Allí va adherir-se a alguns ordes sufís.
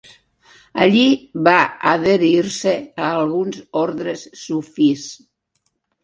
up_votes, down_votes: 1, 2